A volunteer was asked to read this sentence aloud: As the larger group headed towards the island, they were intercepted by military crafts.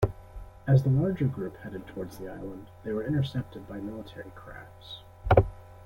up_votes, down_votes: 1, 2